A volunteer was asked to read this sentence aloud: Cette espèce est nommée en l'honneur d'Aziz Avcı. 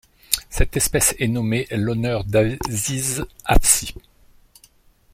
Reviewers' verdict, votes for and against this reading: rejected, 0, 2